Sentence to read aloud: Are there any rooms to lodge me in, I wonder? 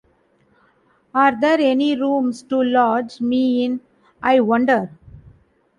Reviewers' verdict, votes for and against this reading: accepted, 2, 1